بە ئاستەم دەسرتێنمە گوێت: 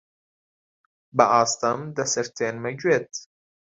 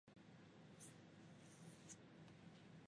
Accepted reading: first